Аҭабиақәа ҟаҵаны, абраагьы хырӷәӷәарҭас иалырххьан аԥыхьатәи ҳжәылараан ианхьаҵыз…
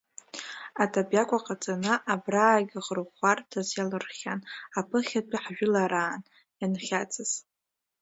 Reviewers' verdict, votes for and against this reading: accepted, 2, 1